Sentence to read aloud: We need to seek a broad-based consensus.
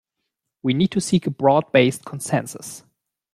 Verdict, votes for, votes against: accepted, 2, 0